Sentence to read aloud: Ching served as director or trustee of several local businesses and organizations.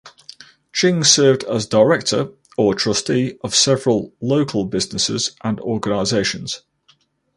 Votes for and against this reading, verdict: 2, 0, accepted